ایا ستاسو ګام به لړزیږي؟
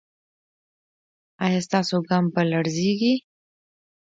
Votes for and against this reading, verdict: 2, 0, accepted